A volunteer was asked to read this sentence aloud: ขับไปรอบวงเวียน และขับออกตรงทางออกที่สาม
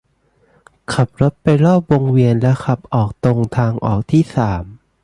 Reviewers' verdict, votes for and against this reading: accepted, 2, 0